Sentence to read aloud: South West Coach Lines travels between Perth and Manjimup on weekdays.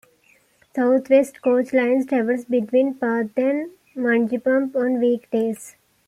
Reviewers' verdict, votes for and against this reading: accepted, 2, 1